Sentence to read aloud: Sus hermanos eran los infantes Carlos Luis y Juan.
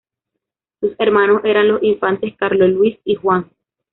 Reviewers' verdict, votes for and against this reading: rejected, 1, 2